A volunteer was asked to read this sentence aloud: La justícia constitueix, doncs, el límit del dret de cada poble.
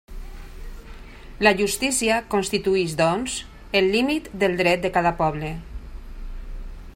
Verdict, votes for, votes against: rejected, 1, 2